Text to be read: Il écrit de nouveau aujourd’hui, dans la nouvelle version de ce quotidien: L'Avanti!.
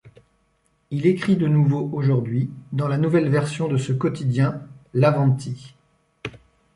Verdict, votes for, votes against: accepted, 2, 0